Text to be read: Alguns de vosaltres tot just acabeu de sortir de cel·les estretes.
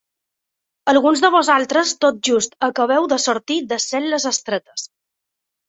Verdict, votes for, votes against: accepted, 3, 1